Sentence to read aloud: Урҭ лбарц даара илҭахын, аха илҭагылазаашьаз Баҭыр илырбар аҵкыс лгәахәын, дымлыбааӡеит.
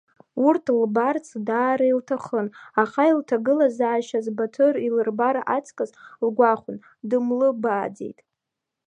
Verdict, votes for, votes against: accepted, 2, 0